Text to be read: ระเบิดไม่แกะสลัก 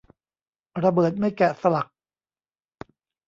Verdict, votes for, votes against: accepted, 2, 0